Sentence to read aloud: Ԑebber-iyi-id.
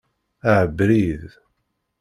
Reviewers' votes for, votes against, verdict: 0, 2, rejected